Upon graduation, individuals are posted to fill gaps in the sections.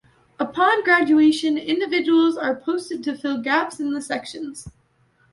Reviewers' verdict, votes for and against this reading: accepted, 2, 0